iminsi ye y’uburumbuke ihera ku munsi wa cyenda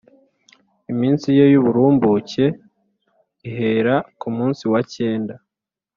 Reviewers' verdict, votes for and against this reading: accepted, 2, 0